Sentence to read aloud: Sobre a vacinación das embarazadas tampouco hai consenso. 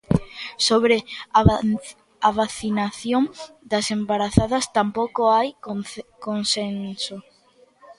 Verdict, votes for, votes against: rejected, 0, 2